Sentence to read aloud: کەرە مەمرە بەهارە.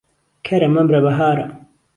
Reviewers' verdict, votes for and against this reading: accepted, 2, 0